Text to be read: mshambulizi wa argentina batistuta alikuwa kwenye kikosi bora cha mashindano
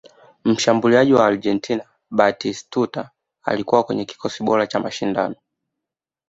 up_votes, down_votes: 2, 0